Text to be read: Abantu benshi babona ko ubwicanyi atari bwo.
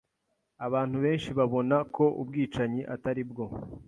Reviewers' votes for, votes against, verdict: 2, 0, accepted